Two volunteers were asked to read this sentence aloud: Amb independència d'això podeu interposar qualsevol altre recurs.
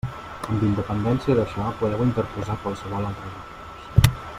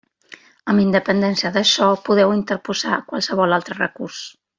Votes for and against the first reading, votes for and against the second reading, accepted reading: 0, 2, 3, 1, second